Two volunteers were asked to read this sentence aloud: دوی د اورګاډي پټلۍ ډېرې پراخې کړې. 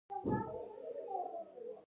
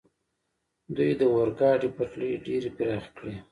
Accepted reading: second